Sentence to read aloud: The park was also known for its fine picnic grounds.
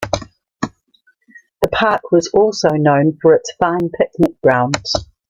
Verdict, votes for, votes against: accepted, 2, 0